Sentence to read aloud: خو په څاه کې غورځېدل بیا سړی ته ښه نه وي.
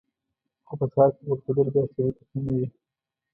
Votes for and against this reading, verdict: 0, 2, rejected